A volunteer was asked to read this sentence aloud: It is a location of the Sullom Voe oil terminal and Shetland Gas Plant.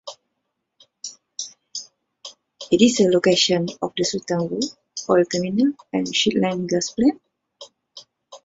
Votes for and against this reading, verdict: 0, 2, rejected